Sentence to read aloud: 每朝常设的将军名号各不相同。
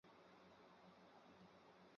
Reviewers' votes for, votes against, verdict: 0, 2, rejected